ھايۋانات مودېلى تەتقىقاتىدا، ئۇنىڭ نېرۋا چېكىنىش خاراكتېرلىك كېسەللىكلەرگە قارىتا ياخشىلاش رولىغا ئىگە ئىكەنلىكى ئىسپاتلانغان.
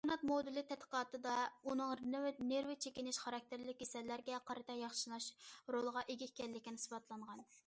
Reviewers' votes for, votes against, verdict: 0, 2, rejected